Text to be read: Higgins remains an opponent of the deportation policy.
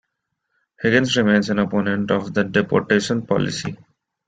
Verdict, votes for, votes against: rejected, 1, 2